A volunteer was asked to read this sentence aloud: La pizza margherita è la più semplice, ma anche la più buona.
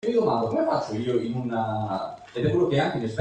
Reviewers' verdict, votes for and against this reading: rejected, 0, 2